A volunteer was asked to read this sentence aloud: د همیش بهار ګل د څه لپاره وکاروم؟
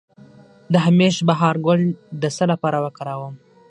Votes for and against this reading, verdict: 0, 6, rejected